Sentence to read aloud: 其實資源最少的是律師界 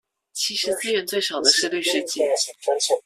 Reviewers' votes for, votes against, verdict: 0, 2, rejected